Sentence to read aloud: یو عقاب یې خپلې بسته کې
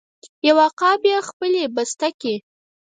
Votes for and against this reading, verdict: 0, 6, rejected